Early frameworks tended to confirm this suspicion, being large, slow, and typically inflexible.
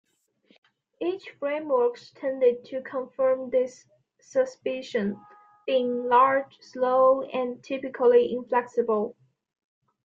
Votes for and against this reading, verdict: 2, 1, accepted